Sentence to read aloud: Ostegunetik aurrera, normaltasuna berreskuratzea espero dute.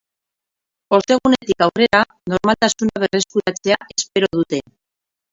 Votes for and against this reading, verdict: 2, 0, accepted